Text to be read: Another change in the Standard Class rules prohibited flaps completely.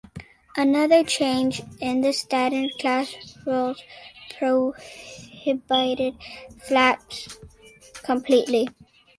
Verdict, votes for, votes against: rejected, 0, 2